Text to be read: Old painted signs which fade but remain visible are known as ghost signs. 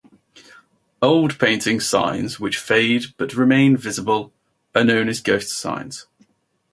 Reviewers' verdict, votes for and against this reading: rejected, 2, 2